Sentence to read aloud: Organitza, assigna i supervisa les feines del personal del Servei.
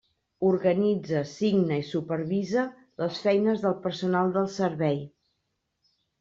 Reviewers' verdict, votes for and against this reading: rejected, 1, 2